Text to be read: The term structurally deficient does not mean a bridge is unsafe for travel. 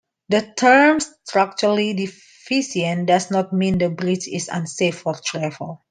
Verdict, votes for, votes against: accepted, 2, 1